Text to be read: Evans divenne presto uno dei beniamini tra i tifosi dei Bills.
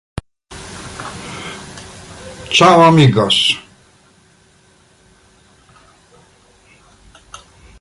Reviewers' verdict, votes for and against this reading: rejected, 0, 2